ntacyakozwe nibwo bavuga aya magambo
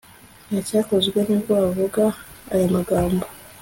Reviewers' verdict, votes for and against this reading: accepted, 2, 0